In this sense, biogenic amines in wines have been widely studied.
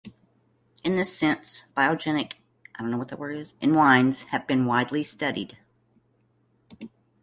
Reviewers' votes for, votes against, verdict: 1, 2, rejected